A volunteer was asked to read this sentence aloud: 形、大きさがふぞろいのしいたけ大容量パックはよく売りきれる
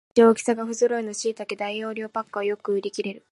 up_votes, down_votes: 0, 2